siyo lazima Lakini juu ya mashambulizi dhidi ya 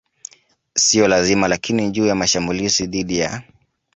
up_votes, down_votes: 2, 0